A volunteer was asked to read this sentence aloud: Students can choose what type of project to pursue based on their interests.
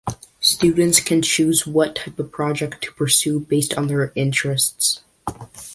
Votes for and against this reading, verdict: 2, 0, accepted